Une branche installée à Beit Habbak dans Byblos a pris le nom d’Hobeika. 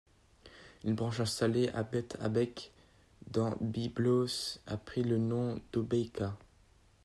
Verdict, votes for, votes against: rejected, 0, 2